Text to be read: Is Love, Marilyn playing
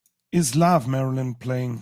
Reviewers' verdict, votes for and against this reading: accepted, 2, 0